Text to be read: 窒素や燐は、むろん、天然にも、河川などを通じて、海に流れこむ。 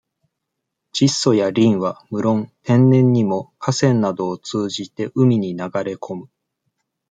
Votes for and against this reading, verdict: 2, 0, accepted